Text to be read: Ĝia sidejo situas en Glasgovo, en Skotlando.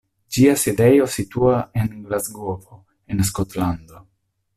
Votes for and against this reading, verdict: 2, 0, accepted